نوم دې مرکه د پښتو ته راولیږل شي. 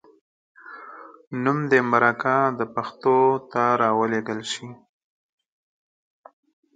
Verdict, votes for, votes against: accepted, 4, 0